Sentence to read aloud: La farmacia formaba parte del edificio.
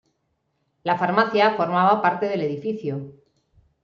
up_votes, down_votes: 3, 0